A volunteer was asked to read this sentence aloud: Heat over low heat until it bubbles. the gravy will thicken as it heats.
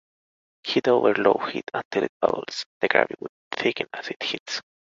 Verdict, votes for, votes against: rejected, 1, 2